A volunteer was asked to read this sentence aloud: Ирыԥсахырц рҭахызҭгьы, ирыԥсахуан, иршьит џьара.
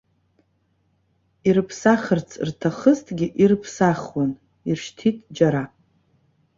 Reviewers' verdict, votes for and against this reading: rejected, 0, 2